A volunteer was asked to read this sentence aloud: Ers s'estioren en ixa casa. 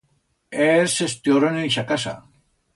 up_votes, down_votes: 2, 0